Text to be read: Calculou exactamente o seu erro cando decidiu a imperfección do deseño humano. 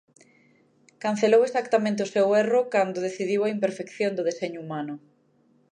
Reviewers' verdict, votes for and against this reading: rejected, 0, 2